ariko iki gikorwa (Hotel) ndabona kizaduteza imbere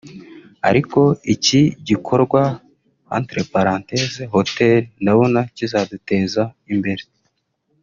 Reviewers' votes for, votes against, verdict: 1, 2, rejected